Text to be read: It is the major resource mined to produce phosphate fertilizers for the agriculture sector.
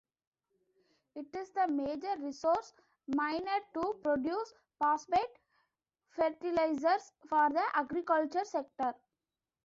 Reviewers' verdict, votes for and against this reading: rejected, 1, 2